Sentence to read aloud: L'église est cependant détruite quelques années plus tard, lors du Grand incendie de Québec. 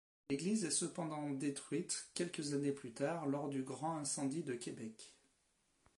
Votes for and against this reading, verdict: 2, 0, accepted